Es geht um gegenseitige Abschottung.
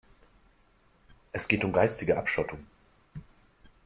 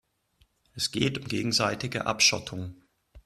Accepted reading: second